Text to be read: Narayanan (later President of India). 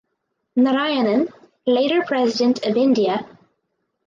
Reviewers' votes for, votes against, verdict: 4, 0, accepted